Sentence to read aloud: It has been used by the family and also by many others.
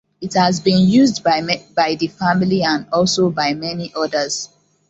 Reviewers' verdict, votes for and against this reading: rejected, 0, 2